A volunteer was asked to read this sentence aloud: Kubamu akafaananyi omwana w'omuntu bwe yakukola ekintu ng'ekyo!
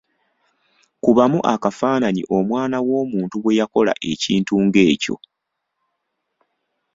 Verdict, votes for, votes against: rejected, 1, 2